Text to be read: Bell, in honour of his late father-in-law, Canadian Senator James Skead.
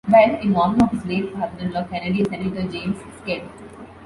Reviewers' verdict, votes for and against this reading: rejected, 0, 2